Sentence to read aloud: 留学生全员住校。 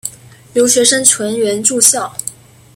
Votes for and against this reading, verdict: 1, 2, rejected